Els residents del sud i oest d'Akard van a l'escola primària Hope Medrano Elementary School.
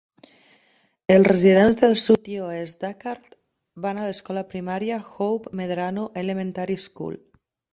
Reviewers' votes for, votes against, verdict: 2, 0, accepted